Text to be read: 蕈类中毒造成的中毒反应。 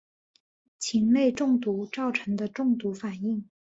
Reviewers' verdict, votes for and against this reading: accepted, 2, 0